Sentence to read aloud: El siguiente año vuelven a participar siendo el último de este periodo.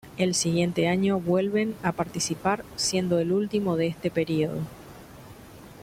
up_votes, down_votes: 2, 1